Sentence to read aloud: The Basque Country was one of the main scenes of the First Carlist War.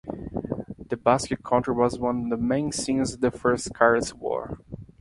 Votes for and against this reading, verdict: 0, 2, rejected